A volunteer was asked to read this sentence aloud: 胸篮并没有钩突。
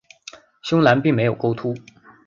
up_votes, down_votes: 2, 0